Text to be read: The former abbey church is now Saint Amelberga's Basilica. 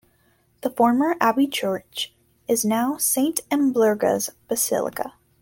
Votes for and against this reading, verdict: 2, 0, accepted